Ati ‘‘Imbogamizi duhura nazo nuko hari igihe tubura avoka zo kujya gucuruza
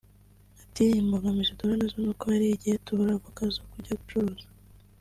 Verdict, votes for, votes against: accepted, 2, 0